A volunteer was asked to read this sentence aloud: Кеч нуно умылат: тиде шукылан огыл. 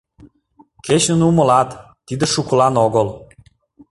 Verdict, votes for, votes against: rejected, 1, 2